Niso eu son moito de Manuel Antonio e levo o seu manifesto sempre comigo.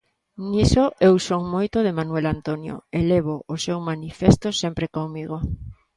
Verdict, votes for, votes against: accepted, 2, 0